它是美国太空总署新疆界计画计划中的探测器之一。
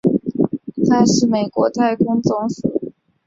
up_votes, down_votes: 0, 2